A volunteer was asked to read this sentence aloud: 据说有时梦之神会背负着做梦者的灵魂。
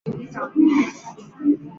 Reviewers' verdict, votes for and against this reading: rejected, 0, 5